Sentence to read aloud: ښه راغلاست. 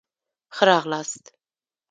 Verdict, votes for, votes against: accepted, 2, 0